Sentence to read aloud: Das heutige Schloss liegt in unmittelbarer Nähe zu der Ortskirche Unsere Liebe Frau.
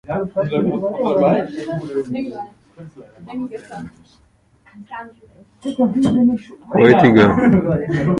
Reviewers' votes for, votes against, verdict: 0, 2, rejected